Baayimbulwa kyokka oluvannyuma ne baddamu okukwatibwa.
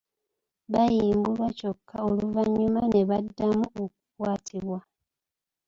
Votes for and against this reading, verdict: 3, 0, accepted